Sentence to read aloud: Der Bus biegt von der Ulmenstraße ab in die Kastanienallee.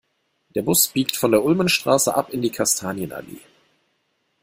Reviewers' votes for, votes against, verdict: 2, 0, accepted